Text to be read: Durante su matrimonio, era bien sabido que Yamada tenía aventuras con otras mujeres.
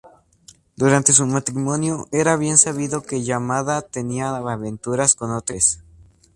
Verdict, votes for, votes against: rejected, 0, 2